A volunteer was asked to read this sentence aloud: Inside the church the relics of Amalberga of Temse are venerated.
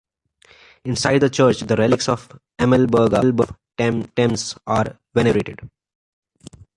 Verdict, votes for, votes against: rejected, 0, 2